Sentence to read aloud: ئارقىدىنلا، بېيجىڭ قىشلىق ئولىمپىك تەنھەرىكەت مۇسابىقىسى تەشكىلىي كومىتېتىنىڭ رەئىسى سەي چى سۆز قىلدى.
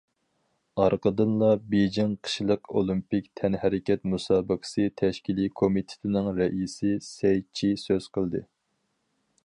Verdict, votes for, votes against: accepted, 4, 0